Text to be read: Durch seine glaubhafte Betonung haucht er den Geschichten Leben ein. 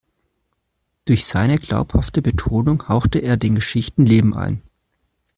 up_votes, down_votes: 1, 2